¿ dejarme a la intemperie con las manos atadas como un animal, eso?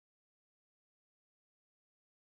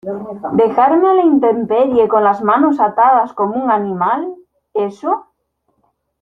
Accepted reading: second